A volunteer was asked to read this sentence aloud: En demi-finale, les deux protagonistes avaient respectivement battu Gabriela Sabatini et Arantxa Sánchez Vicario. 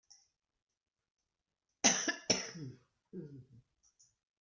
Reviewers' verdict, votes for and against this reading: rejected, 0, 2